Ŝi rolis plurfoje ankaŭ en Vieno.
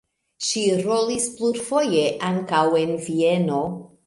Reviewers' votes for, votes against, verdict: 2, 0, accepted